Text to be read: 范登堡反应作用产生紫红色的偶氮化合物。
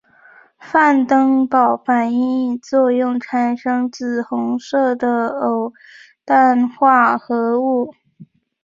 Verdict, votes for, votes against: accepted, 3, 0